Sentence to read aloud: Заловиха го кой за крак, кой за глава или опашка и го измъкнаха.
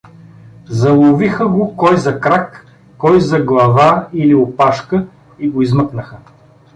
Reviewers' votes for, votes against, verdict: 2, 0, accepted